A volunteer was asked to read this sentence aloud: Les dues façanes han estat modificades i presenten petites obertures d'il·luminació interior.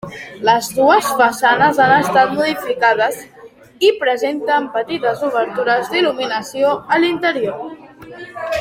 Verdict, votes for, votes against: rejected, 0, 2